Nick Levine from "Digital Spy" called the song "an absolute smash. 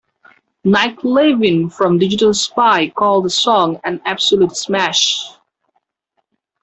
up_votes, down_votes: 2, 1